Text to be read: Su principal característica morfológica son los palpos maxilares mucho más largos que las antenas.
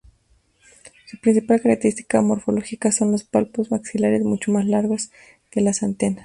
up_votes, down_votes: 2, 0